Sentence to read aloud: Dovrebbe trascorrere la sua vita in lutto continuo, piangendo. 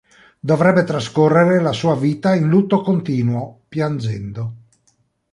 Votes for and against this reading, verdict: 2, 0, accepted